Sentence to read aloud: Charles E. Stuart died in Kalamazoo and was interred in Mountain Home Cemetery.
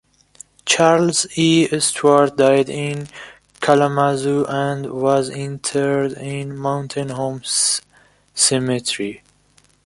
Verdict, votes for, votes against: rejected, 0, 2